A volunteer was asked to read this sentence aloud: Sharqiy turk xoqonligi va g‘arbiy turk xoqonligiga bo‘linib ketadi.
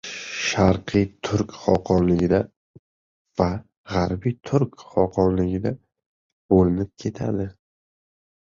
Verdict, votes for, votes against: rejected, 1, 2